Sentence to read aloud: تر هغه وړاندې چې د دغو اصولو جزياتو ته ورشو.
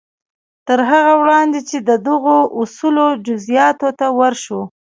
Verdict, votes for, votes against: rejected, 0, 2